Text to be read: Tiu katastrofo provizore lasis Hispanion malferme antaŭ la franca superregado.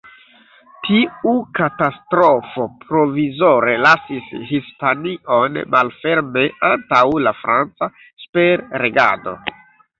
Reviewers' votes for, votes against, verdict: 0, 2, rejected